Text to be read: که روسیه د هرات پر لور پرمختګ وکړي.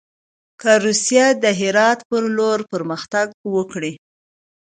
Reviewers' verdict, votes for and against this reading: accepted, 2, 1